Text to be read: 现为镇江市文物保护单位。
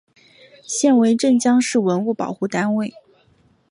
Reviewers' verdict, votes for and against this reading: accepted, 6, 0